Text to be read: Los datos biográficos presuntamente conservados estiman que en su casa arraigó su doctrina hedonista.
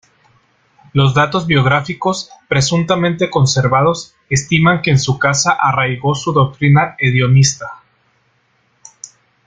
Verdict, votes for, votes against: rejected, 0, 2